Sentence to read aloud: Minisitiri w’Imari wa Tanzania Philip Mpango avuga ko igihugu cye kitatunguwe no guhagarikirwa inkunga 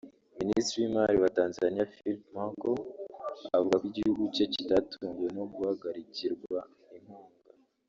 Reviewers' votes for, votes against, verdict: 2, 1, accepted